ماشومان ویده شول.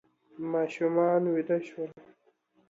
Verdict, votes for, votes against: accepted, 2, 0